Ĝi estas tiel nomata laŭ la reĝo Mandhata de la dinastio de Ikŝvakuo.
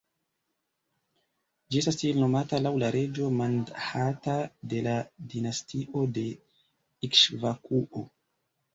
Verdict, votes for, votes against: rejected, 0, 2